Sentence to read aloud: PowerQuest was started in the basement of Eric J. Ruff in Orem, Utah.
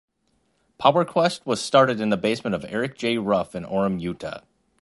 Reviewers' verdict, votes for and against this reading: accepted, 2, 1